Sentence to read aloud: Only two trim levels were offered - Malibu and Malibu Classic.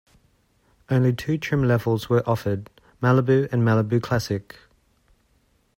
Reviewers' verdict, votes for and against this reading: accepted, 2, 0